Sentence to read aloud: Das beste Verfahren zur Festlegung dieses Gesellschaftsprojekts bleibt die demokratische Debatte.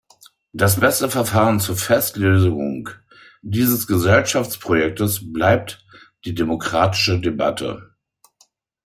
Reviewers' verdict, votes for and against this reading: rejected, 0, 2